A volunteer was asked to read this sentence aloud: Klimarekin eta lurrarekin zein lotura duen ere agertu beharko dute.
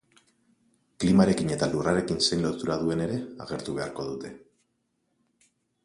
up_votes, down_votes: 4, 0